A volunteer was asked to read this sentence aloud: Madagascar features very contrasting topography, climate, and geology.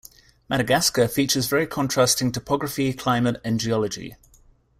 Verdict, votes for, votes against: accepted, 2, 0